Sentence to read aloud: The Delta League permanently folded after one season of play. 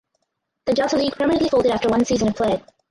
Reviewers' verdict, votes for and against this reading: rejected, 0, 4